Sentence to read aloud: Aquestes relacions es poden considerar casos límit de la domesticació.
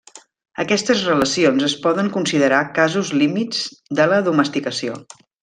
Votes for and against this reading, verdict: 2, 1, accepted